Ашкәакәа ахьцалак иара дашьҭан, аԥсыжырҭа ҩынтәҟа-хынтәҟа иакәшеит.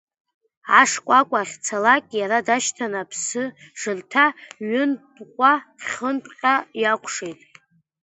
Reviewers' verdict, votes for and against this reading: rejected, 0, 2